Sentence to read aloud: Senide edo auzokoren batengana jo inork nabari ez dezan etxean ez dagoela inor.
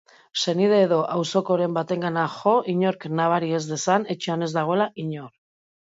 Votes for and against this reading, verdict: 2, 0, accepted